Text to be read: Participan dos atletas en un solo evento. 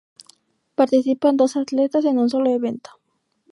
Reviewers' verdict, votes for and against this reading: accepted, 6, 0